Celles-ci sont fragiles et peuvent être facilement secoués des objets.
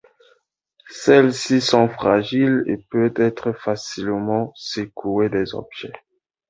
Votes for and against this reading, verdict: 1, 2, rejected